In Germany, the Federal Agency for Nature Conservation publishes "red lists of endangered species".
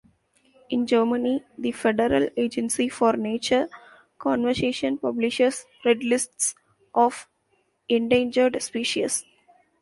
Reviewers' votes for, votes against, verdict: 0, 2, rejected